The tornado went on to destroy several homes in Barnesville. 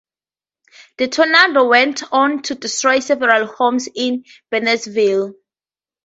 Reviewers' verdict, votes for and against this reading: rejected, 0, 2